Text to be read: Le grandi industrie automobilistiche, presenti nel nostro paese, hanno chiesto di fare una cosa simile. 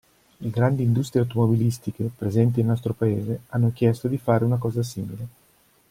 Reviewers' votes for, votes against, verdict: 2, 0, accepted